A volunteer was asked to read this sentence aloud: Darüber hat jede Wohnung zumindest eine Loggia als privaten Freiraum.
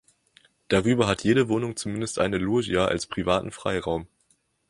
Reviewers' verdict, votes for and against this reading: rejected, 1, 2